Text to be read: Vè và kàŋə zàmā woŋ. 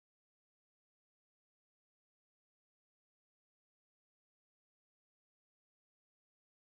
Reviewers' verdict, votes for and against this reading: rejected, 0, 2